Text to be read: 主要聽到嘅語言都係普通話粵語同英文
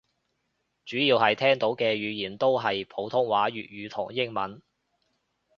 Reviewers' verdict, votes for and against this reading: rejected, 0, 2